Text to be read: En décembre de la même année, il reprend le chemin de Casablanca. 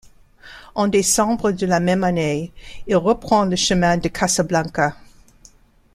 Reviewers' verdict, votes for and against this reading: accepted, 3, 2